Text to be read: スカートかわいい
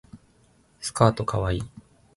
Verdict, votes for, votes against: accepted, 2, 0